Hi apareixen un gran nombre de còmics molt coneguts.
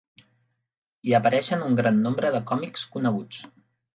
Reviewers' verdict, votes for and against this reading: rejected, 0, 2